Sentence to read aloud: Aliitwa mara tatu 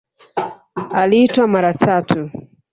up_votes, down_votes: 2, 0